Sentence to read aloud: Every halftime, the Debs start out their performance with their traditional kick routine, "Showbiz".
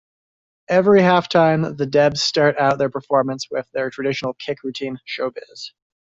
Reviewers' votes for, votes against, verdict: 2, 0, accepted